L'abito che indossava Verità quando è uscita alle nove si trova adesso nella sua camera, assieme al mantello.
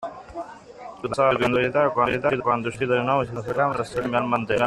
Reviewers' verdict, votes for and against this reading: rejected, 0, 2